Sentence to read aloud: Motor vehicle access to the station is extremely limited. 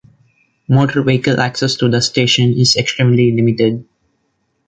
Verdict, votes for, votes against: accepted, 2, 0